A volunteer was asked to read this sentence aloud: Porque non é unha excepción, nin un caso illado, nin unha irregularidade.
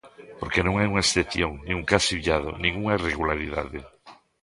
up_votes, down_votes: 1, 2